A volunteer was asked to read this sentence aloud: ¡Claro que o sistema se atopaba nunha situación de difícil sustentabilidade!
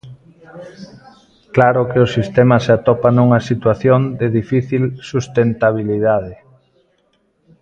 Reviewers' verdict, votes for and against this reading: rejected, 1, 2